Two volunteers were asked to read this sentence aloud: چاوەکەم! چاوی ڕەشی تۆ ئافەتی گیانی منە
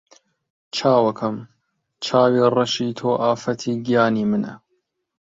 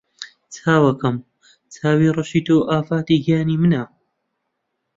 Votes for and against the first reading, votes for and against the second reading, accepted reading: 2, 0, 1, 2, first